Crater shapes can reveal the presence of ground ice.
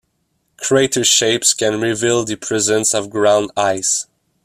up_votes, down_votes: 2, 0